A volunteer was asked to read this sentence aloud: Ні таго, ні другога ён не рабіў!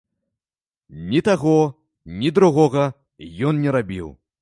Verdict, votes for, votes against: accepted, 2, 0